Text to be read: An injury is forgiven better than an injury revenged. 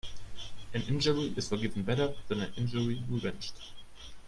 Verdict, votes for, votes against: rejected, 0, 2